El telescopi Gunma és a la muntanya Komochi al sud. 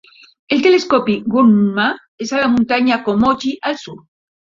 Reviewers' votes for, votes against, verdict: 2, 0, accepted